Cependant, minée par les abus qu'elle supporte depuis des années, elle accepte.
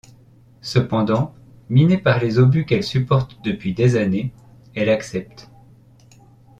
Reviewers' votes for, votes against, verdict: 1, 2, rejected